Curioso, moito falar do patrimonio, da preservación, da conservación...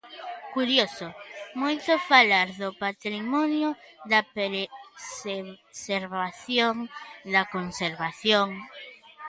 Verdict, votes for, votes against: rejected, 0, 3